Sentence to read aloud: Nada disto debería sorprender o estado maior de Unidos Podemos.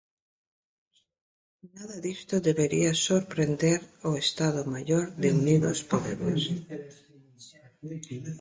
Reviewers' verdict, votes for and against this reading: rejected, 0, 2